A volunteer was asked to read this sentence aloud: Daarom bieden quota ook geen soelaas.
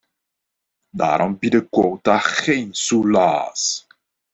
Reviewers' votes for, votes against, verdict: 0, 2, rejected